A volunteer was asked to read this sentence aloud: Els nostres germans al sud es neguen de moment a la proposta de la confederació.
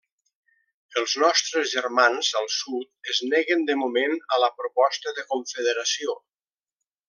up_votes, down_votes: 2, 1